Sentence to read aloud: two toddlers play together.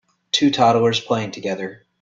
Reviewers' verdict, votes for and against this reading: rejected, 0, 2